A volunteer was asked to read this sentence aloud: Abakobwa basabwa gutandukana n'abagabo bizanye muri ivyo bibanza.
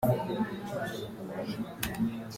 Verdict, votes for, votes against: rejected, 0, 2